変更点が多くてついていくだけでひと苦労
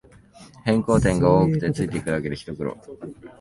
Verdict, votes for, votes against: accepted, 3, 0